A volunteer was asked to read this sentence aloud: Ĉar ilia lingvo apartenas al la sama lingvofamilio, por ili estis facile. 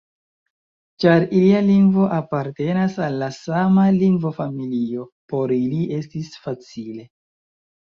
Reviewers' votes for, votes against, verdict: 1, 2, rejected